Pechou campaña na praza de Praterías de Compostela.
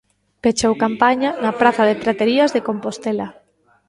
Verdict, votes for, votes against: accepted, 2, 0